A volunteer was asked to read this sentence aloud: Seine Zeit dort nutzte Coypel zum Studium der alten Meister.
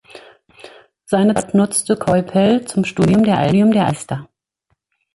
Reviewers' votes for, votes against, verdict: 1, 2, rejected